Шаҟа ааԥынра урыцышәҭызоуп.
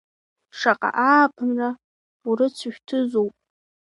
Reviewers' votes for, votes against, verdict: 2, 0, accepted